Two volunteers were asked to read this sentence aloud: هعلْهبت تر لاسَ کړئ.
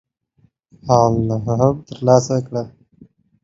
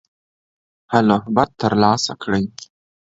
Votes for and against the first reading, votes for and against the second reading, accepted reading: 1, 2, 2, 0, second